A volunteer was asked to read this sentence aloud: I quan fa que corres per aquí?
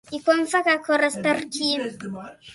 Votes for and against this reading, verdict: 1, 2, rejected